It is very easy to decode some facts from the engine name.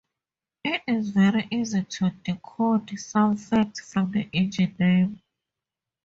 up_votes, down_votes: 2, 0